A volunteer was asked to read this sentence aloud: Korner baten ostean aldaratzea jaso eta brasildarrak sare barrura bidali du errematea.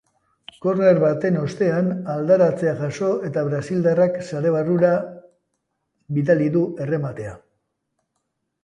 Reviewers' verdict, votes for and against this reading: accepted, 2, 0